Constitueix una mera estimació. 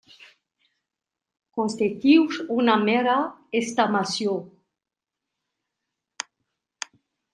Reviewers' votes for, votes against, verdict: 0, 2, rejected